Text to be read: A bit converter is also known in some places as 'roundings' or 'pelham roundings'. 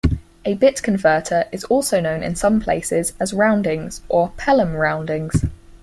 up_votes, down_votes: 4, 0